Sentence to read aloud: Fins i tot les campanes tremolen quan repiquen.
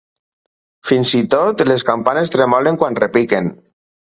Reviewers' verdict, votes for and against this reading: accepted, 4, 0